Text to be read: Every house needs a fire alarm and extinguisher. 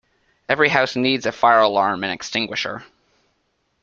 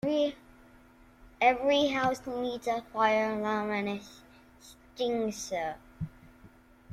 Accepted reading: first